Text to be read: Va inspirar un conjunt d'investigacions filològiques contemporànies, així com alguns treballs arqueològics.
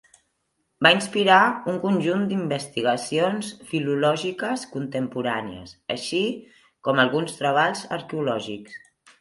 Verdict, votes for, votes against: accepted, 3, 0